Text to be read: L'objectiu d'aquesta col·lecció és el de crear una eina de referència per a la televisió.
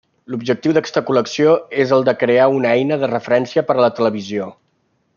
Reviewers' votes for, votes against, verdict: 3, 1, accepted